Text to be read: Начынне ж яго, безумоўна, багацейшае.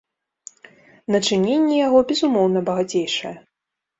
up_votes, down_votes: 1, 2